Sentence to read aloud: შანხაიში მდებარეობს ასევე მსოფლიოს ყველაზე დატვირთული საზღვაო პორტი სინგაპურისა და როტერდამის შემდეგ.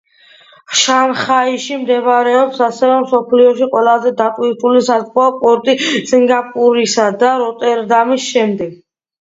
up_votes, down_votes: 0, 2